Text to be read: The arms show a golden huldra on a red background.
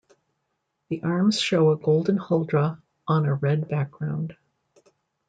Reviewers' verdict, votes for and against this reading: accepted, 2, 0